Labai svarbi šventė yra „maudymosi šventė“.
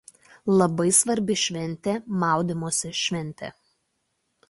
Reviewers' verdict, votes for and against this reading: rejected, 0, 2